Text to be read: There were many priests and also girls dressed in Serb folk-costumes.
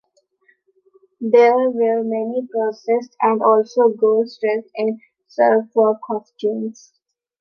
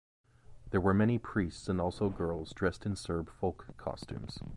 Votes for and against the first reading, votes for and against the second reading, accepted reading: 0, 2, 2, 0, second